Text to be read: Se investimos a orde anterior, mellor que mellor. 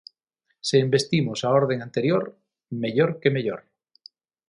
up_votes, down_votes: 0, 6